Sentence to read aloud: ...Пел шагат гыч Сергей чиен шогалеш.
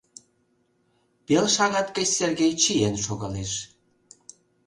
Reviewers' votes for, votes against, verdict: 2, 0, accepted